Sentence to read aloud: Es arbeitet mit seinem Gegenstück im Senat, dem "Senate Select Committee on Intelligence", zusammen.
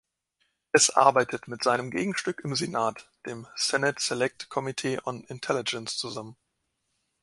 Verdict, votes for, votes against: accepted, 3, 0